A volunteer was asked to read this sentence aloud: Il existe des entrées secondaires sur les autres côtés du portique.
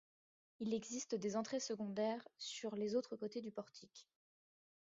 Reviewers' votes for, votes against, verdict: 2, 1, accepted